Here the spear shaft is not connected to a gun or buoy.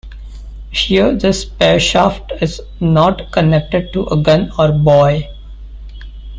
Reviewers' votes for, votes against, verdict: 0, 2, rejected